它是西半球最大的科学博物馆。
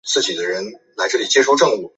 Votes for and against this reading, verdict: 0, 2, rejected